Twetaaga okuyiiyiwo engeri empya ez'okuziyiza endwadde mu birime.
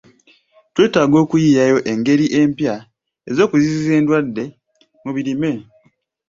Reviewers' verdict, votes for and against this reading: accepted, 2, 0